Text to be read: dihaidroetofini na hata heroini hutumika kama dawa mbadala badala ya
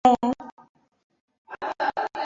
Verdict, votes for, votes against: rejected, 0, 2